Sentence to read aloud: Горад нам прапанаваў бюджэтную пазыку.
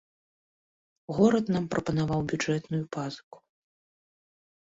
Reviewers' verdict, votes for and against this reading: rejected, 0, 2